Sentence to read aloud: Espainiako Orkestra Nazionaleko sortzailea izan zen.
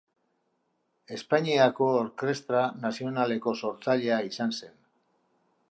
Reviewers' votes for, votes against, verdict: 0, 3, rejected